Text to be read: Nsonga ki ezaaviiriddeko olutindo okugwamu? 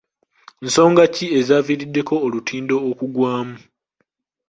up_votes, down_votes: 3, 1